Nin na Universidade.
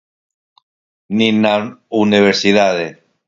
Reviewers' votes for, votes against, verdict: 2, 4, rejected